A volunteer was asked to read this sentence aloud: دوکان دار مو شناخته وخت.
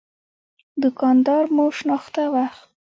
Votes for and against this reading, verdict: 2, 0, accepted